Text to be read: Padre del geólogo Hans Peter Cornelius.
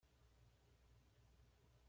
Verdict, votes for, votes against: rejected, 1, 2